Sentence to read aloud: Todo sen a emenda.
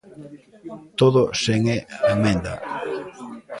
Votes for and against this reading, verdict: 0, 2, rejected